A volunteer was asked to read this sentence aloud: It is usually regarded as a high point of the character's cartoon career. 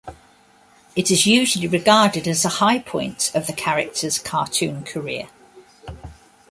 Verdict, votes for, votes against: accepted, 2, 0